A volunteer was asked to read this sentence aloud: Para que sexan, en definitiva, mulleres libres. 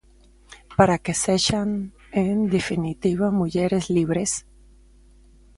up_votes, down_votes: 2, 0